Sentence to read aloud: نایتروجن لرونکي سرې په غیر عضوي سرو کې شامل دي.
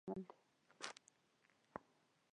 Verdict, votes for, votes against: rejected, 0, 2